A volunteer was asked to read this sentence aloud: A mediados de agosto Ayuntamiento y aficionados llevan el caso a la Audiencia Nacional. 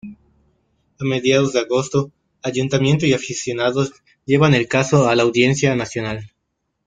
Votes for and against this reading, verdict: 0, 2, rejected